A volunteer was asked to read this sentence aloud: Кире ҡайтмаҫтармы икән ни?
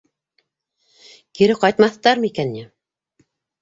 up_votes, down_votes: 3, 0